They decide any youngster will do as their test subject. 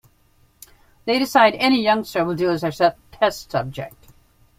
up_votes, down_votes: 0, 2